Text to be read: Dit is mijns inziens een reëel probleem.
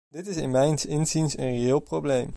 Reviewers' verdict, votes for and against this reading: rejected, 0, 2